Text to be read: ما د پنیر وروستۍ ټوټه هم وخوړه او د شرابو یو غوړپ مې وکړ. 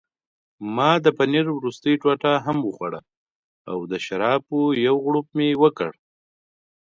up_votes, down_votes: 2, 0